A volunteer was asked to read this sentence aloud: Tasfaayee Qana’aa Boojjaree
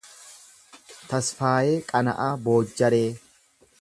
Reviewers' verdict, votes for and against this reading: accepted, 2, 0